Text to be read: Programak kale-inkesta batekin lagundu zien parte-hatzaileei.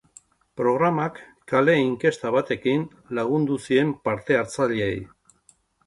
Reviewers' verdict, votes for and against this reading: accepted, 3, 0